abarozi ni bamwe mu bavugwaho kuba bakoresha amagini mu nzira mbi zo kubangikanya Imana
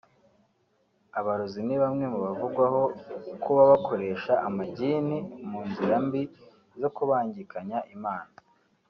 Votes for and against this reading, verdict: 2, 0, accepted